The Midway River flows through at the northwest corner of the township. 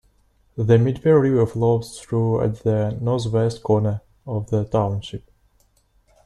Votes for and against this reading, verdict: 1, 2, rejected